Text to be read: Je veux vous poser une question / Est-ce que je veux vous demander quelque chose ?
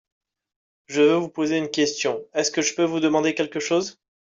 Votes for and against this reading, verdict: 0, 2, rejected